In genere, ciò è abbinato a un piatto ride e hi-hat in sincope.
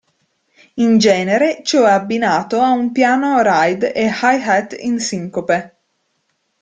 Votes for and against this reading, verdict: 0, 2, rejected